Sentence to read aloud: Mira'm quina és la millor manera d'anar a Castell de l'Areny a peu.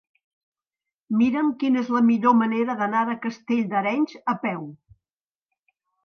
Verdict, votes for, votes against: rejected, 0, 2